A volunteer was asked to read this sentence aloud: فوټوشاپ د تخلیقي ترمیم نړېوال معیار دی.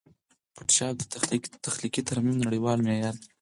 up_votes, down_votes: 0, 4